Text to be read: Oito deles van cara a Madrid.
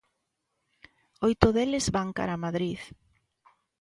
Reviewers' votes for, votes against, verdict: 2, 0, accepted